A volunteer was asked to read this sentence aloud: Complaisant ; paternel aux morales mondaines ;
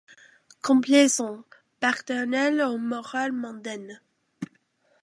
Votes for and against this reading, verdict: 2, 1, accepted